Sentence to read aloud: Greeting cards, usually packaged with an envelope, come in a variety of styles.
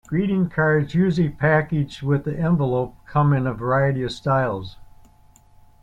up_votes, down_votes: 1, 2